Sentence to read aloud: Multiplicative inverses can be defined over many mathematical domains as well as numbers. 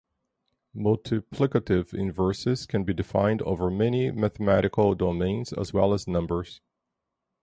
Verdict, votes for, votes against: accepted, 4, 0